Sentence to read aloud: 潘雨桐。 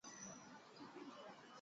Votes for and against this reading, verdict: 1, 2, rejected